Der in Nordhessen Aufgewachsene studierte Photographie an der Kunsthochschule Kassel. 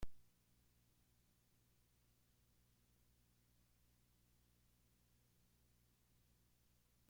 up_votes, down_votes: 0, 3